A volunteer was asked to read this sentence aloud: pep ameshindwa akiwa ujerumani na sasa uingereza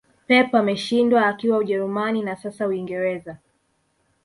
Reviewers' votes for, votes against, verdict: 3, 0, accepted